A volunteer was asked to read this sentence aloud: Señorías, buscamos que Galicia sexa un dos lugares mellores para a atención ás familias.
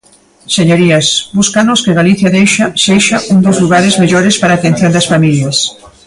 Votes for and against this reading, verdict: 1, 2, rejected